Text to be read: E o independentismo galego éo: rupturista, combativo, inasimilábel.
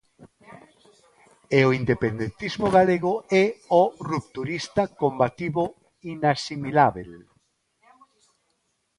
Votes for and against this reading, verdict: 2, 1, accepted